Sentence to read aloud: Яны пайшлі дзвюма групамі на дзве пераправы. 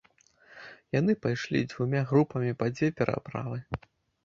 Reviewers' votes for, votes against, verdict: 0, 2, rejected